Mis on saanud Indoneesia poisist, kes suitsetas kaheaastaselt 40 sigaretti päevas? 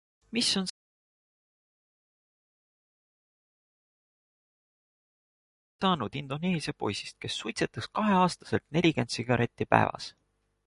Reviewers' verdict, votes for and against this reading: rejected, 0, 2